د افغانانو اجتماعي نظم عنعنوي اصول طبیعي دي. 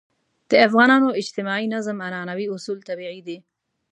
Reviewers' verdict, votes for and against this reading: accepted, 2, 0